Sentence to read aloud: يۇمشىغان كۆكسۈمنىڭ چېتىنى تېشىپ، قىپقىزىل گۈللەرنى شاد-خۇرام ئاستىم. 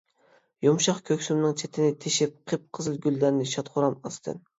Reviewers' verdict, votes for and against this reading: rejected, 1, 2